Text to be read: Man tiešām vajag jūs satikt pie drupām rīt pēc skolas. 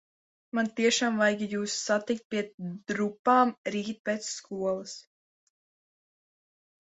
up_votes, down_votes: 1, 2